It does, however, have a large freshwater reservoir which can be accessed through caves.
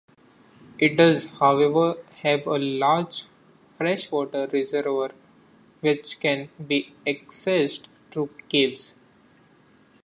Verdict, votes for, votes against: rejected, 0, 2